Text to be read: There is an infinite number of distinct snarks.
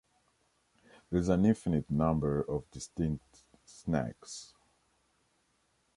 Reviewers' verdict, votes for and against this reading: rejected, 0, 2